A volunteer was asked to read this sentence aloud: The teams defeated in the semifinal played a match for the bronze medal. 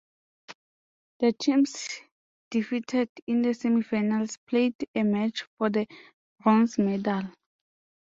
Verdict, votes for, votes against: rejected, 1, 2